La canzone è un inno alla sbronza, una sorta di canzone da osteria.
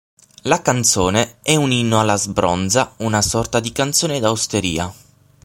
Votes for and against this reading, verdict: 6, 0, accepted